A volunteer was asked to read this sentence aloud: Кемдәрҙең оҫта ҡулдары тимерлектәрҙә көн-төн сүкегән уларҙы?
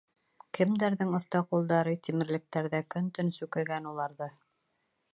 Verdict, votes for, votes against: accepted, 2, 0